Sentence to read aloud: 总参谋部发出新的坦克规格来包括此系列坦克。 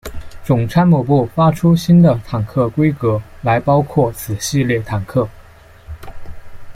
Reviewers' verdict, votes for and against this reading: accepted, 3, 0